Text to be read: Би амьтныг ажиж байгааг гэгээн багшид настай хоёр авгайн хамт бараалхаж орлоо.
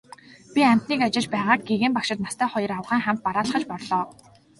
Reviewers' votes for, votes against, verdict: 2, 0, accepted